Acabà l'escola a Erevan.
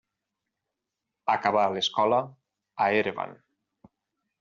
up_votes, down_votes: 4, 0